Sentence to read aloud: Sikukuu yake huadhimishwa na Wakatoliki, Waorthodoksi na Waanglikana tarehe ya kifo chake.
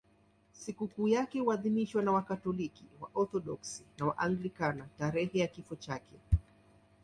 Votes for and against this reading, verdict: 2, 1, accepted